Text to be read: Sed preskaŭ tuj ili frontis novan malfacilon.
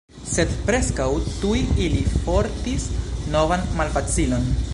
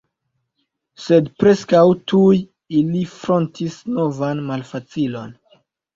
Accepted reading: second